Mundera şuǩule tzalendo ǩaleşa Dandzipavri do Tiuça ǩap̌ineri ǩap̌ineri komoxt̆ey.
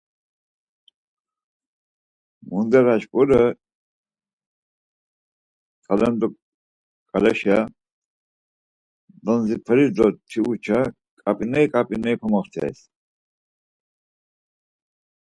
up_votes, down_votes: 0, 4